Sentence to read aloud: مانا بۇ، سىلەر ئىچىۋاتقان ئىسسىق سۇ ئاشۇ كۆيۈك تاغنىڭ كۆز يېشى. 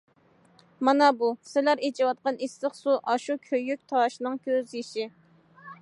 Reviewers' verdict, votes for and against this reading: rejected, 0, 2